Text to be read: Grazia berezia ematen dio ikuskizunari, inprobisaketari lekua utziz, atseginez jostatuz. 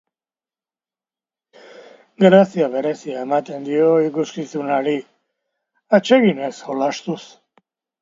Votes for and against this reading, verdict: 0, 2, rejected